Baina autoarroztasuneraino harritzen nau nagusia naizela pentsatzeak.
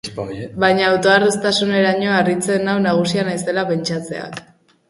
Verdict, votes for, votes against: rejected, 0, 2